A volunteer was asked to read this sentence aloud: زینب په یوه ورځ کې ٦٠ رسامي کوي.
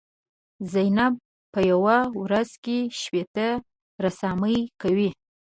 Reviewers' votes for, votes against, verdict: 0, 2, rejected